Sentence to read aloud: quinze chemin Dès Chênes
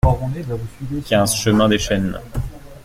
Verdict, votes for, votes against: rejected, 1, 2